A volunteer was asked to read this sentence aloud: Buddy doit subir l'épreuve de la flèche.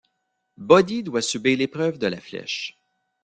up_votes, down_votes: 0, 2